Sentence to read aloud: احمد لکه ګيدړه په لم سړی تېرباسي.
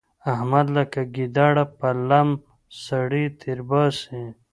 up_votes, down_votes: 1, 2